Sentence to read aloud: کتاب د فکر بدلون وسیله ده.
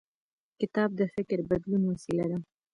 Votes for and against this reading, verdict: 2, 1, accepted